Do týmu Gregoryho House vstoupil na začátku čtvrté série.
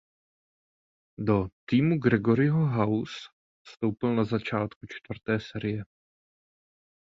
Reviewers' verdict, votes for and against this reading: rejected, 0, 2